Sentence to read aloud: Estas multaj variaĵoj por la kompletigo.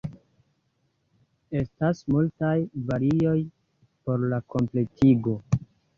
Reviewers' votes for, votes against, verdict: 1, 2, rejected